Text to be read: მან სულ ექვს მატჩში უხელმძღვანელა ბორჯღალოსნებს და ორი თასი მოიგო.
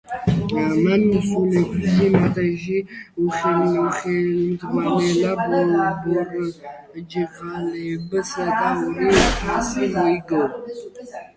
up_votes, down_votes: 0, 4